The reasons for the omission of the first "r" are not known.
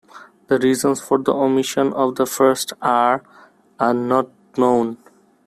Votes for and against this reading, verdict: 2, 0, accepted